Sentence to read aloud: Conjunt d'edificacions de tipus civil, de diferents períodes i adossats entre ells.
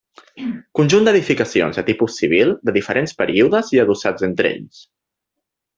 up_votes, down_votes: 2, 1